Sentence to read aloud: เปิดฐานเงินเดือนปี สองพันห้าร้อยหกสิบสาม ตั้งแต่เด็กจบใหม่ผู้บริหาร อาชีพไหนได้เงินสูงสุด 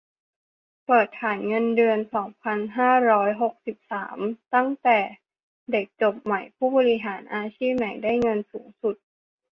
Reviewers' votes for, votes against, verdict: 0, 4, rejected